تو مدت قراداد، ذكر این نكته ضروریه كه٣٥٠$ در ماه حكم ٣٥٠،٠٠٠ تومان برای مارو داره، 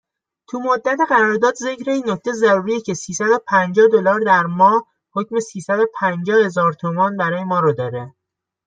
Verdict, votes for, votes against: rejected, 0, 2